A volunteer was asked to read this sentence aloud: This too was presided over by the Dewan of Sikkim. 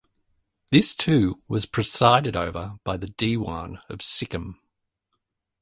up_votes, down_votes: 2, 0